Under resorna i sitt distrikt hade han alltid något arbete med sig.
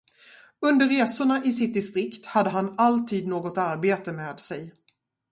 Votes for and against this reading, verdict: 0, 2, rejected